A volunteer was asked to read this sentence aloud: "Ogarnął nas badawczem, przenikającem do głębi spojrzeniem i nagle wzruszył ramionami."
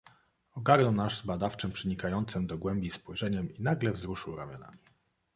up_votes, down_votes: 2, 0